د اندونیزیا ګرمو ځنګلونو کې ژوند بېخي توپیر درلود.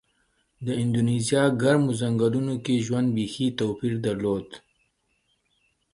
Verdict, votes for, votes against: rejected, 1, 2